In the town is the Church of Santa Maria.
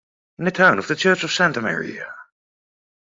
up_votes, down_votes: 0, 2